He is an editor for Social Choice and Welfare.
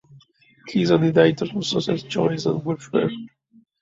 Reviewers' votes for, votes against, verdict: 2, 1, accepted